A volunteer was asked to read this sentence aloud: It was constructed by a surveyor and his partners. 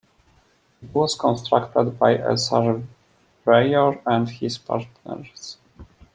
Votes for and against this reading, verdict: 0, 2, rejected